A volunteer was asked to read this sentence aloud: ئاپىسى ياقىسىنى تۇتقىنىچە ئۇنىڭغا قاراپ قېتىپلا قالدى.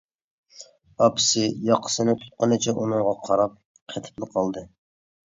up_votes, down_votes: 2, 0